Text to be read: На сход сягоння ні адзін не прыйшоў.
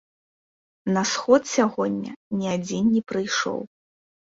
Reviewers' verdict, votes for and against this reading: accepted, 2, 0